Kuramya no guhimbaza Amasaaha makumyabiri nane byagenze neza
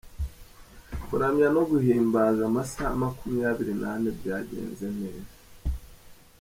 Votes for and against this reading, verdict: 2, 0, accepted